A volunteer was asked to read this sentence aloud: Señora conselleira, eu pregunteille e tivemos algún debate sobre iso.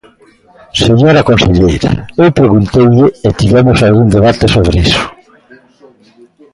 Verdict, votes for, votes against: accepted, 2, 0